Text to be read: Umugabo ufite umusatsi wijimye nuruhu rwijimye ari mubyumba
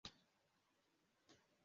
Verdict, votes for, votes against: rejected, 0, 2